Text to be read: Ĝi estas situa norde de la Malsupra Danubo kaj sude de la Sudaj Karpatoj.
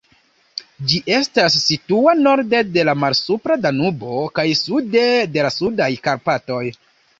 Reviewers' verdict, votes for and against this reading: accepted, 2, 0